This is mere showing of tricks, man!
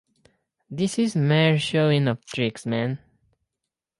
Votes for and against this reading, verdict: 4, 0, accepted